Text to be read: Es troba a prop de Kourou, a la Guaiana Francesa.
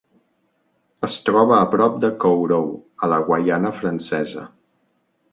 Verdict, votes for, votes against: rejected, 1, 2